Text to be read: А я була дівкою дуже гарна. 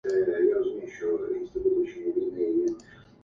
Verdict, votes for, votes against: rejected, 0, 2